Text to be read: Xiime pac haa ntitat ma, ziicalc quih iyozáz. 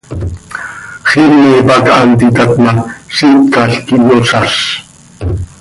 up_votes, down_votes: 2, 0